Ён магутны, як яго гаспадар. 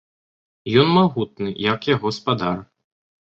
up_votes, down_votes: 1, 2